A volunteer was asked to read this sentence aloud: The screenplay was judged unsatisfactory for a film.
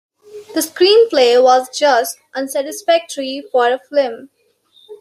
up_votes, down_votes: 1, 2